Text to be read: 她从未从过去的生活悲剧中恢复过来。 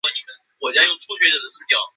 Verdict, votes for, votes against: rejected, 1, 3